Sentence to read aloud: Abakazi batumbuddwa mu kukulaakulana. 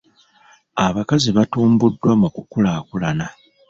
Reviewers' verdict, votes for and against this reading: rejected, 1, 2